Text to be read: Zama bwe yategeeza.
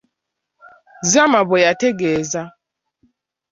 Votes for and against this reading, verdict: 1, 2, rejected